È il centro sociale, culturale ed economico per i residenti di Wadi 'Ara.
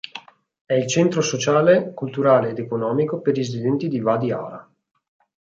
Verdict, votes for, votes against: rejected, 1, 2